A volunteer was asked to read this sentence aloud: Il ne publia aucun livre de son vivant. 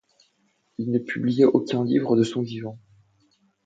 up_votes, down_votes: 2, 0